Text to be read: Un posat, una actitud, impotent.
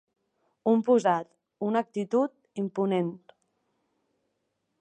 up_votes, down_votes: 1, 2